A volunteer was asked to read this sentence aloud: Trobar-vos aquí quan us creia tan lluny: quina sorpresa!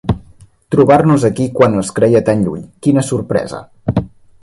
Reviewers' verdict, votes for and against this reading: rejected, 1, 2